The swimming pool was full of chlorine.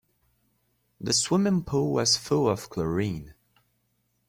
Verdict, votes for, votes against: accepted, 2, 1